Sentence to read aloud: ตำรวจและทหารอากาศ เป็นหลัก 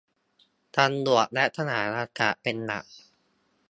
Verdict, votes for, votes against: rejected, 0, 2